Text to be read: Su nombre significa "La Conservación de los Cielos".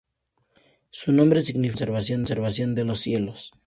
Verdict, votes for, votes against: rejected, 0, 2